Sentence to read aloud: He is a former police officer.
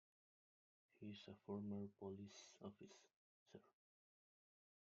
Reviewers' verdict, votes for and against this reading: rejected, 0, 2